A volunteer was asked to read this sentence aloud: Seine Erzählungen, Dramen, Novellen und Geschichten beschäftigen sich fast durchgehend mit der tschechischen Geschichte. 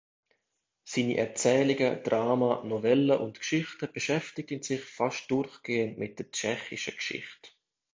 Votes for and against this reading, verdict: 1, 3, rejected